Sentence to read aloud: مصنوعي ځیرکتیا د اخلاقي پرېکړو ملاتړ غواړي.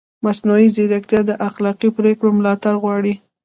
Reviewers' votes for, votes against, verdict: 1, 2, rejected